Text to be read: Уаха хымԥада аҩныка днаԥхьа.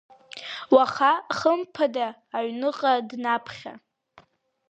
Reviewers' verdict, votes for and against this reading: accepted, 2, 0